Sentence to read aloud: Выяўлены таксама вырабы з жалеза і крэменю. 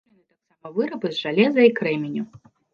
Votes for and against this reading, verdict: 0, 2, rejected